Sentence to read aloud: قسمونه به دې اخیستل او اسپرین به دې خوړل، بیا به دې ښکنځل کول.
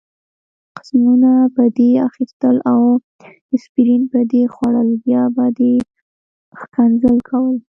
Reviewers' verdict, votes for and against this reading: accepted, 2, 0